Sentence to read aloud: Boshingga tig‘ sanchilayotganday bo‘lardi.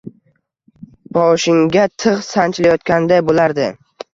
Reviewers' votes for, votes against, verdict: 2, 0, accepted